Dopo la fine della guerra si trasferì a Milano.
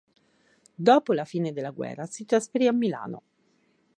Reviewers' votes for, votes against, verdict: 4, 0, accepted